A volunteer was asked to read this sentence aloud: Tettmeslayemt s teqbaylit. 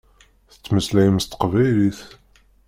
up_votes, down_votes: 2, 0